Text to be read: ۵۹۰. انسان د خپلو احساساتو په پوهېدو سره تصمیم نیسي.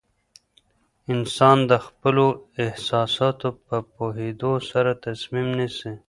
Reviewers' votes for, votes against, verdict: 0, 2, rejected